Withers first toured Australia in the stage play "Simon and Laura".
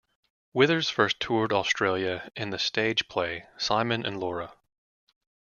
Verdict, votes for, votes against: accepted, 2, 0